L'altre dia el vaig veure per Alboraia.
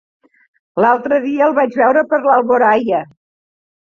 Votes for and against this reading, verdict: 1, 2, rejected